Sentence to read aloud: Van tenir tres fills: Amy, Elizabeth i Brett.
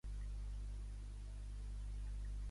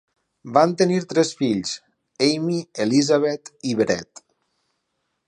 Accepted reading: second